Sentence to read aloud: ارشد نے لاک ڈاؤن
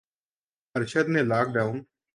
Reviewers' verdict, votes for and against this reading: rejected, 2, 2